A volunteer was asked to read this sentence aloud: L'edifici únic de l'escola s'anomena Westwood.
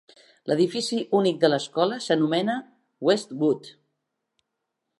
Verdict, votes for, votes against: accepted, 4, 2